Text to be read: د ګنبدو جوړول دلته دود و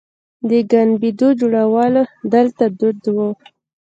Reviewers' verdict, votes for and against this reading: rejected, 0, 2